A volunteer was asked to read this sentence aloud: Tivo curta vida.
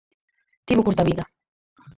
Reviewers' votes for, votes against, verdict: 4, 0, accepted